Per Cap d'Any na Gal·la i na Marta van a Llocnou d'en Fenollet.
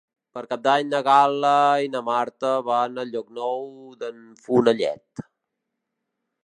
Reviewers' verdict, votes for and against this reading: rejected, 1, 2